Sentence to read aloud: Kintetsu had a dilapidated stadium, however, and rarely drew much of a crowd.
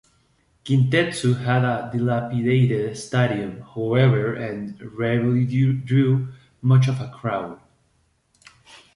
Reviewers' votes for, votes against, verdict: 1, 2, rejected